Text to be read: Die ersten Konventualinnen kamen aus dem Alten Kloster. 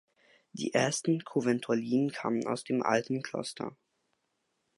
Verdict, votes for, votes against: rejected, 0, 3